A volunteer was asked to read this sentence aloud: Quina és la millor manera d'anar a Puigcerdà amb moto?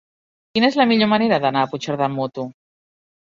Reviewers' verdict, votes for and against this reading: accepted, 4, 0